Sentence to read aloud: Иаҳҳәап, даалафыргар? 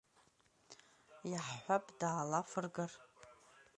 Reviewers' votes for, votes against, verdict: 2, 0, accepted